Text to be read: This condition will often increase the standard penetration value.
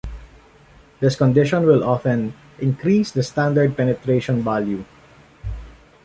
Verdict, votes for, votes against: accepted, 2, 0